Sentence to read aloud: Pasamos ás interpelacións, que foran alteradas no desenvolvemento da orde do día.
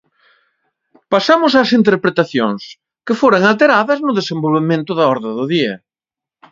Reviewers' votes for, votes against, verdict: 1, 2, rejected